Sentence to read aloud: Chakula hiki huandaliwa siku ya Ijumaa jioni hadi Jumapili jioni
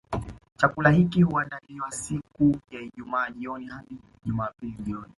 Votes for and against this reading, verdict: 2, 0, accepted